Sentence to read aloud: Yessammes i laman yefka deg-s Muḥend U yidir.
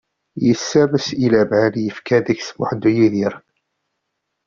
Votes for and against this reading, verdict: 1, 2, rejected